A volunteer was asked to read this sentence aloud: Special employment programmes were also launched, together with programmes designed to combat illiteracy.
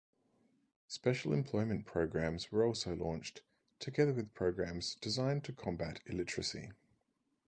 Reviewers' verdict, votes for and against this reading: accepted, 4, 0